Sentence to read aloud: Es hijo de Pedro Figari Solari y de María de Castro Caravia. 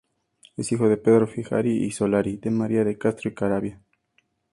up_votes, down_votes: 2, 0